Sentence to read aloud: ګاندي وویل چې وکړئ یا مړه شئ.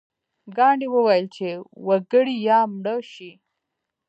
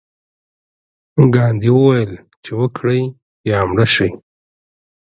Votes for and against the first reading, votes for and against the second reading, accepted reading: 0, 2, 2, 0, second